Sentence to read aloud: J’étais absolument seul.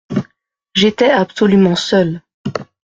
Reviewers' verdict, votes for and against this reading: accepted, 2, 0